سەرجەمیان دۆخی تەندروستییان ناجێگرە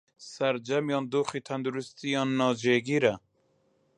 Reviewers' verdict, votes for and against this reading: accepted, 2, 0